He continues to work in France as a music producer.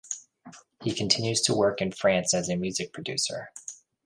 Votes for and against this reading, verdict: 2, 0, accepted